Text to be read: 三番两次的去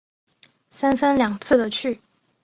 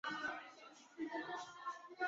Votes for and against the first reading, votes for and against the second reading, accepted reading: 3, 0, 0, 2, first